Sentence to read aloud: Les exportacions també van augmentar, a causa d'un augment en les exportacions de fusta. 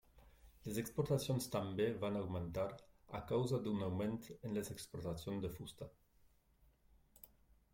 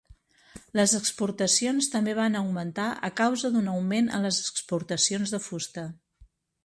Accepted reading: second